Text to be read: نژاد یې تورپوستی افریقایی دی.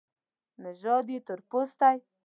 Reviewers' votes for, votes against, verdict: 0, 2, rejected